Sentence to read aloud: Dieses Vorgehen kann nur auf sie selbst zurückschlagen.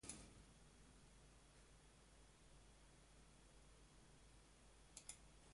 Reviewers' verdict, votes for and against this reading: rejected, 0, 2